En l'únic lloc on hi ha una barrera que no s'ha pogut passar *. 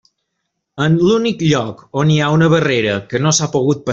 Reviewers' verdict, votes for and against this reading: rejected, 0, 2